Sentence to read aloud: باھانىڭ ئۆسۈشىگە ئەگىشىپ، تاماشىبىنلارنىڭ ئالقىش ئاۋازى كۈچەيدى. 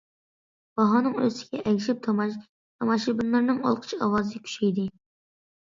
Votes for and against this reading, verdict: 0, 2, rejected